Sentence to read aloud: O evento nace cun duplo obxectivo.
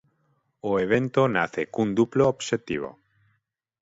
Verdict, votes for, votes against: accepted, 6, 0